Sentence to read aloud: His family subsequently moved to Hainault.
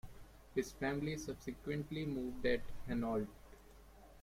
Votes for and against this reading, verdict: 0, 2, rejected